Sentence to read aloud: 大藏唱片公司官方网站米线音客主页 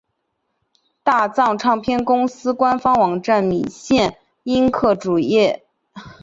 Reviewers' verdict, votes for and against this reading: accepted, 2, 0